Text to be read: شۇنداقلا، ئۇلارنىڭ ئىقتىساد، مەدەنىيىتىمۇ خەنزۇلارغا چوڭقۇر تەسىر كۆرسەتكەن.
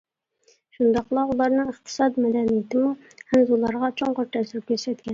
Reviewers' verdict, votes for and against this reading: accepted, 2, 0